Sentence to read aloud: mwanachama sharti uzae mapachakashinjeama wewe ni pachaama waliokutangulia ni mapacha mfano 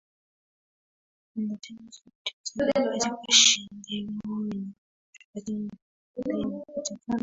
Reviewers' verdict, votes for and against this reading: rejected, 0, 2